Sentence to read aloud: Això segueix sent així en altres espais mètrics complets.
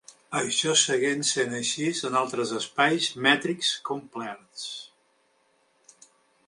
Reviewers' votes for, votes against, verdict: 0, 2, rejected